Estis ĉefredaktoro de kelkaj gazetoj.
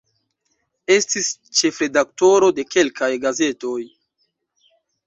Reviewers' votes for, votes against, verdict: 2, 1, accepted